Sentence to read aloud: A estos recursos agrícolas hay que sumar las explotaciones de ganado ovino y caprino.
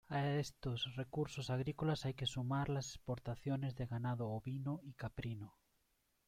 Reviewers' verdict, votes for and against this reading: rejected, 1, 2